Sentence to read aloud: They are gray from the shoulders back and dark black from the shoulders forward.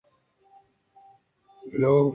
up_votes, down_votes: 0, 2